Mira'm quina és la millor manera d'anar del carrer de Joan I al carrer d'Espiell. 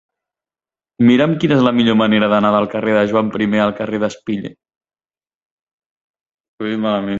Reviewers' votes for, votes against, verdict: 0, 2, rejected